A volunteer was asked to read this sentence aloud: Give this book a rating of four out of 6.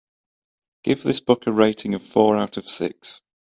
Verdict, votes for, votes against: rejected, 0, 2